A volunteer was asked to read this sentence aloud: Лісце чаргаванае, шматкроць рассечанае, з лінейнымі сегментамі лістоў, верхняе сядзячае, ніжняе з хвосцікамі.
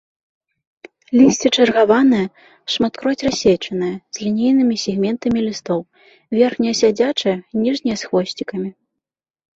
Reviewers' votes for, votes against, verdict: 2, 0, accepted